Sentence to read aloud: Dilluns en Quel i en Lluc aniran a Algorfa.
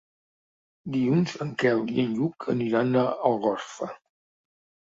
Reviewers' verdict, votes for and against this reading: accepted, 2, 0